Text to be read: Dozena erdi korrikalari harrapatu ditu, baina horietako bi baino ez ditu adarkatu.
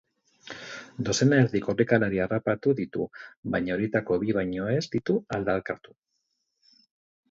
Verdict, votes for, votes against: rejected, 0, 4